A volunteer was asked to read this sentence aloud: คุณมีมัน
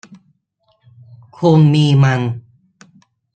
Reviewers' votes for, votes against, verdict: 0, 2, rejected